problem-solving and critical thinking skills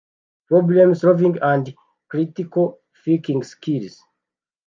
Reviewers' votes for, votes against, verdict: 0, 2, rejected